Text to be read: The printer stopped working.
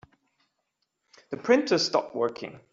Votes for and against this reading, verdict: 2, 0, accepted